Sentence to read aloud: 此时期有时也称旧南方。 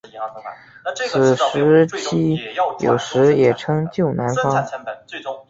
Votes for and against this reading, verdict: 2, 0, accepted